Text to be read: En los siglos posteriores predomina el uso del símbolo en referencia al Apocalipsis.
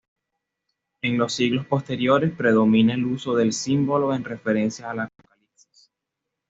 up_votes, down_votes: 1, 2